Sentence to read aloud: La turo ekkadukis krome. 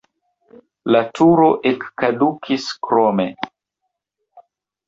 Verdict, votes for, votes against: rejected, 1, 2